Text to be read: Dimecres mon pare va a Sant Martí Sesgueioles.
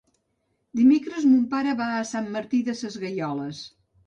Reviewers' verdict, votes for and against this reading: rejected, 0, 2